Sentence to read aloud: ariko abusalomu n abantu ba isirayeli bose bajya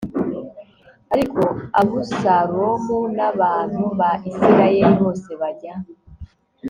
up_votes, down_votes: 2, 1